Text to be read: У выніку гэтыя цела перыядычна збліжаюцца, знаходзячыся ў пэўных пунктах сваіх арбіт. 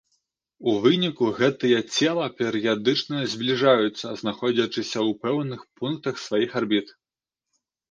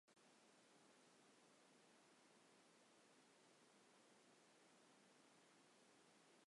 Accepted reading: first